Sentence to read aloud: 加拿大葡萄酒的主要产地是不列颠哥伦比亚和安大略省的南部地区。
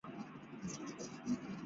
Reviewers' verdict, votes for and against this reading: rejected, 0, 3